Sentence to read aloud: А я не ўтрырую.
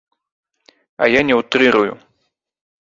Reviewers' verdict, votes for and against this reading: rejected, 0, 2